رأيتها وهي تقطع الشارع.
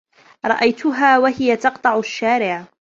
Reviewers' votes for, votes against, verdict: 2, 1, accepted